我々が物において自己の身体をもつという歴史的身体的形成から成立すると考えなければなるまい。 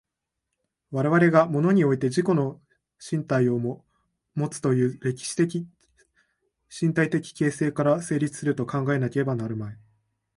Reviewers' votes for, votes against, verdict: 2, 0, accepted